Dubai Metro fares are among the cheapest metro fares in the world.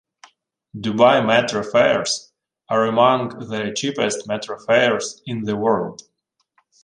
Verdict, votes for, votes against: rejected, 0, 2